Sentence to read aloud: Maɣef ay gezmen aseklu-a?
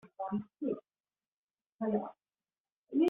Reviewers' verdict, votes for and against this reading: rejected, 0, 3